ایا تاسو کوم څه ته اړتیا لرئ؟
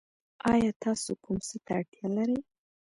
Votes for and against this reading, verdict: 1, 2, rejected